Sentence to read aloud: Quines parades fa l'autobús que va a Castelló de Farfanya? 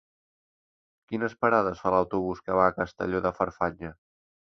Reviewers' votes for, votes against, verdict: 3, 0, accepted